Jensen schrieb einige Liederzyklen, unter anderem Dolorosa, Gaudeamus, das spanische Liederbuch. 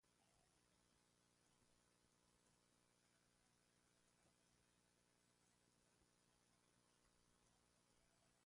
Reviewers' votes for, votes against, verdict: 0, 2, rejected